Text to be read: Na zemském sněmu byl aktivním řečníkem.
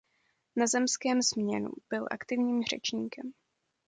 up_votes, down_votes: 1, 2